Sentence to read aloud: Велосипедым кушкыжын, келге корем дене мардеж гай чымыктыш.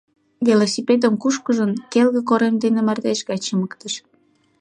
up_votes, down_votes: 2, 0